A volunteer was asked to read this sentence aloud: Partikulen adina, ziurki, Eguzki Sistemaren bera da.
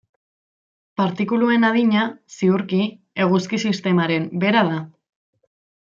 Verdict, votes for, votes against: rejected, 0, 2